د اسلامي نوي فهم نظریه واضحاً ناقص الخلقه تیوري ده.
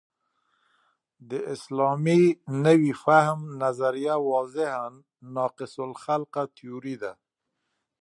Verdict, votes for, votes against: accepted, 4, 0